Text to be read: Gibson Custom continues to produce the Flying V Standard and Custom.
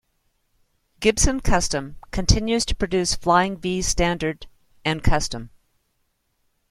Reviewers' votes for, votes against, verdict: 0, 2, rejected